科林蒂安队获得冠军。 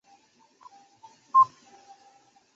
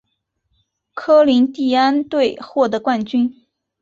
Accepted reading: second